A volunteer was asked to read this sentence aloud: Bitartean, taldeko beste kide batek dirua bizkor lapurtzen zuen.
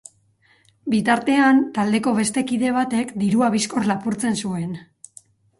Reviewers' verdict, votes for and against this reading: accepted, 4, 0